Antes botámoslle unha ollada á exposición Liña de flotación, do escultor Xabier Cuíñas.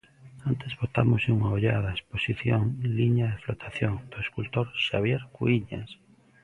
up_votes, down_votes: 2, 0